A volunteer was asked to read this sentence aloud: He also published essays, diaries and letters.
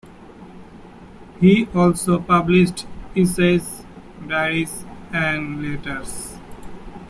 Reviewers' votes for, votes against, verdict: 2, 1, accepted